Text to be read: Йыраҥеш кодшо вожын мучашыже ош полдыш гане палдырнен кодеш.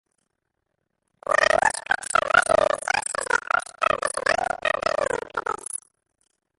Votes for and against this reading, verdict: 0, 2, rejected